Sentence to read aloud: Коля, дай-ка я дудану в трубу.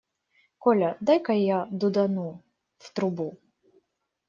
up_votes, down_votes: 2, 0